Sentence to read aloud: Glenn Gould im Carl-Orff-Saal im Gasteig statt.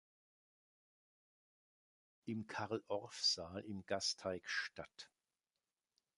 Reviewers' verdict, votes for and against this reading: rejected, 0, 2